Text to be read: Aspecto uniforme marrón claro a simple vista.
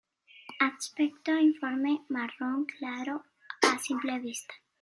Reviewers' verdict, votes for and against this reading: accepted, 2, 0